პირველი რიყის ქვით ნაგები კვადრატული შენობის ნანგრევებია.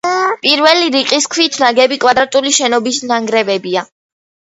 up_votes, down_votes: 1, 2